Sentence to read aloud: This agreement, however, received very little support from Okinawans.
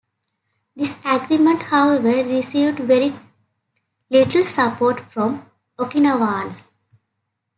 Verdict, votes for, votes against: rejected, 1, 2